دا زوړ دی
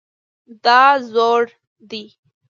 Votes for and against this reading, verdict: 2, 0, accepted